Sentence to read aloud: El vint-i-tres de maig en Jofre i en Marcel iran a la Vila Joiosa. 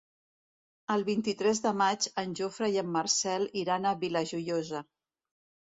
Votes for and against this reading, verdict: 1, 3, rejected